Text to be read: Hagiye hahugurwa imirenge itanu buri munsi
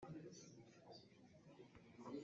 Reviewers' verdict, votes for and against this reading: rejected, 0, 2